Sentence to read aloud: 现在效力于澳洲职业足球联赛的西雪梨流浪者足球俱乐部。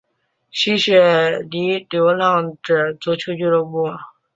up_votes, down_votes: 0, 2